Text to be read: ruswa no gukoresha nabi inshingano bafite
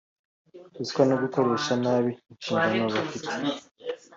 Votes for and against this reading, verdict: 2, 0, accepted